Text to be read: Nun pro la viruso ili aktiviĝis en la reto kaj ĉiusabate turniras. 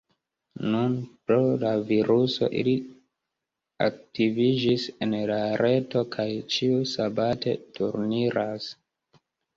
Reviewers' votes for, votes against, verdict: 0, 2, rejected